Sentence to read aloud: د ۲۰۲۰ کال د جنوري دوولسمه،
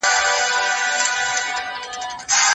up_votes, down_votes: 0, 2